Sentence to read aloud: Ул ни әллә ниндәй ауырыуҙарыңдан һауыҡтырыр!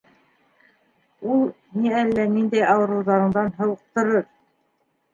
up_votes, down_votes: 1, 2